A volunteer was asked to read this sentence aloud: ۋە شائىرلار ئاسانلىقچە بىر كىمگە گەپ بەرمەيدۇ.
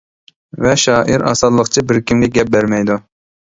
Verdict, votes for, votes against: rejected, 0, 2